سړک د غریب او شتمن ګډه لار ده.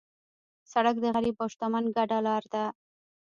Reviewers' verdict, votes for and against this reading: accepted, 2, 1